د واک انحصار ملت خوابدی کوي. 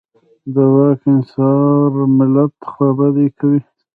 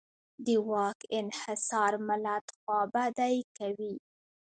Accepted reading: second